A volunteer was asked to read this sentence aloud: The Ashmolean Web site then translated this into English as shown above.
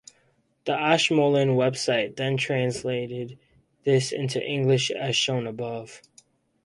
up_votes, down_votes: 2, 2